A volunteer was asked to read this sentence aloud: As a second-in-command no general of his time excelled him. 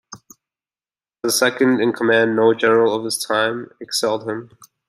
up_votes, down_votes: 2, 1